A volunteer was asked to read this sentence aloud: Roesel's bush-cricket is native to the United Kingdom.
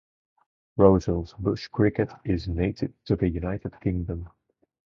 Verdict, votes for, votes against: rejected, 2, 2